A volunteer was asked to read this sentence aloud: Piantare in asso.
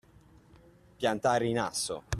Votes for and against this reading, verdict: 2, 0, accepted